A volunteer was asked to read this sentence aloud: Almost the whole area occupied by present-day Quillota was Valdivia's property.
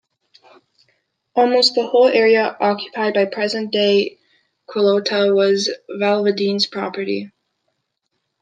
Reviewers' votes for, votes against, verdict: 0, 2, rejected